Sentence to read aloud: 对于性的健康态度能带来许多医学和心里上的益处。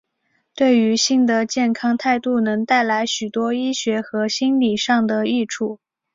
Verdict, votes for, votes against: accepted, 2, 0